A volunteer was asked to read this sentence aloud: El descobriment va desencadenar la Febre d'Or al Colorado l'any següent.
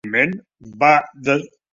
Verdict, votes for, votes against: rejected, 0, 2